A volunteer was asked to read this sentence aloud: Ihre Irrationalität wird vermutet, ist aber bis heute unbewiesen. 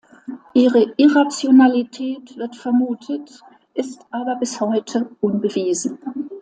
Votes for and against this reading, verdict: 3, 0, accepted